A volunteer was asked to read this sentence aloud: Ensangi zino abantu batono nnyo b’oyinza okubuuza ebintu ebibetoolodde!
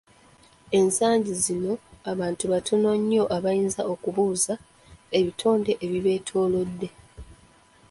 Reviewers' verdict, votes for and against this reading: rejected, 1, 2